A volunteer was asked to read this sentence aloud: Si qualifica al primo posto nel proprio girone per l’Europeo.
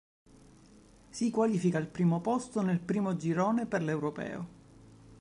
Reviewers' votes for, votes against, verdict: 0, 2, rejected